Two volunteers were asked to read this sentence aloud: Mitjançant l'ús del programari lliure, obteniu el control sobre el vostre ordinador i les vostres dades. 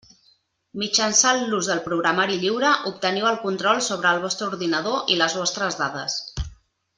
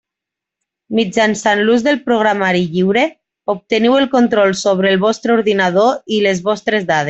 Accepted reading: first